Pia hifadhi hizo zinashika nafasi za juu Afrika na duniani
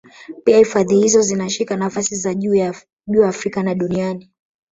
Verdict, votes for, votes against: rejected, 1, 2